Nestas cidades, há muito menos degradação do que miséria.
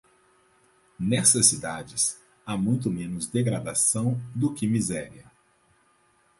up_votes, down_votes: 4, 2